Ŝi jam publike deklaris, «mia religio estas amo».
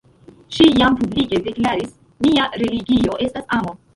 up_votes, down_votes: 1, 2